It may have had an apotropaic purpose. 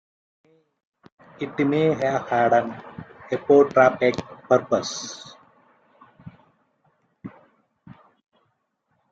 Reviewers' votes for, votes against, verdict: 0, 2, rejected